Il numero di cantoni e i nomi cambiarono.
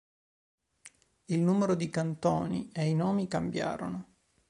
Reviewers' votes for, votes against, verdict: 2, 0, accepted